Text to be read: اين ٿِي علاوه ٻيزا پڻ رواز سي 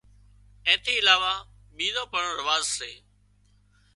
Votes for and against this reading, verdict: 2, 0, accepted